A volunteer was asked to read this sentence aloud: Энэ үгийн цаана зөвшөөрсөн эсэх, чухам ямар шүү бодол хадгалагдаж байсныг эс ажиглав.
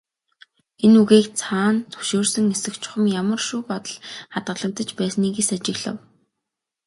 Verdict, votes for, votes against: accepted, 3, 0